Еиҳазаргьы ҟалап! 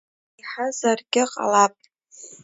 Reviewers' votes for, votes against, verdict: 2, 1, accepted